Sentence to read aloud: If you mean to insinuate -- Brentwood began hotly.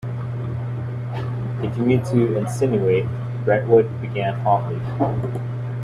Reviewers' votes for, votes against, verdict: 0, 2, rejected